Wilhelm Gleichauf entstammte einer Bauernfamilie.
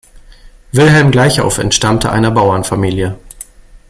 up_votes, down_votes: 2, 0